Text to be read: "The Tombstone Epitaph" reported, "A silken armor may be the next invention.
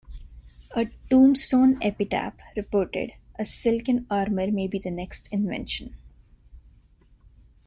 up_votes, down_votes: 2, 0